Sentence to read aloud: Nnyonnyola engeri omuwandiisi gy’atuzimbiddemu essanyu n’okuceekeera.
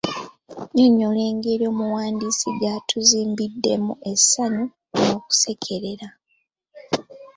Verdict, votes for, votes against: accepted, 4, 3